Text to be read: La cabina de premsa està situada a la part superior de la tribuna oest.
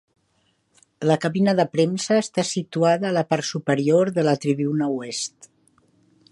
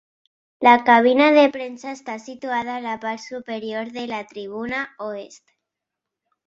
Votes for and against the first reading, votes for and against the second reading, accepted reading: 1, 2, 3, 0, second